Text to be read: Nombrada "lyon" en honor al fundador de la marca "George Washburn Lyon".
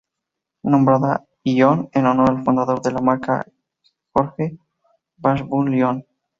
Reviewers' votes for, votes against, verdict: 0, 2, rejected